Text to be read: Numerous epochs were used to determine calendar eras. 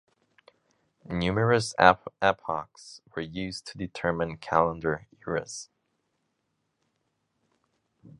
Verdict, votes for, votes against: rejected, 1, 2